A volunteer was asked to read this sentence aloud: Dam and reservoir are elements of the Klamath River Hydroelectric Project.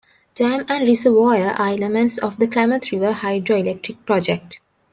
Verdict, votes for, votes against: rejected, 1, 2